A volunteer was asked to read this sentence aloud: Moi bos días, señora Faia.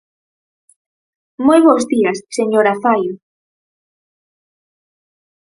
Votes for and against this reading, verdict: 0, 4, rejected